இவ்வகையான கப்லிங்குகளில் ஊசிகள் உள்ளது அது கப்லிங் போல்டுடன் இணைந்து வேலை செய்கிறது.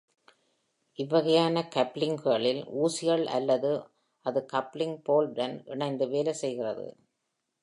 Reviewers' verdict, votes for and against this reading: rejected, 1, 2